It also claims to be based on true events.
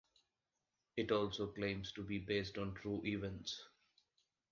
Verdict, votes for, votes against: accepted, 2, 0